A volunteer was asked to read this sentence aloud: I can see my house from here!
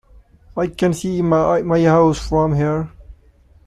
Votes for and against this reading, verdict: 1, 2, rejected